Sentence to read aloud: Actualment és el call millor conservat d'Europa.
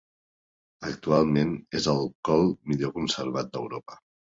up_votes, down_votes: 2, 1